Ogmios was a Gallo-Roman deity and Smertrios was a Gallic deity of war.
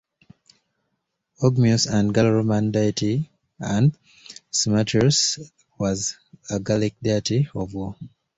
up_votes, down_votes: 2, 0